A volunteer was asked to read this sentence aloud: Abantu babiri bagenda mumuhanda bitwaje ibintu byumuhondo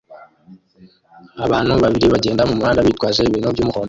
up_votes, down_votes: 1, 2